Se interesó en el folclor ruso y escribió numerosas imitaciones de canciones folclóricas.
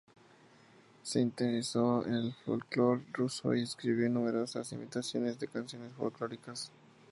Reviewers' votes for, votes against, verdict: 2, 0, accepted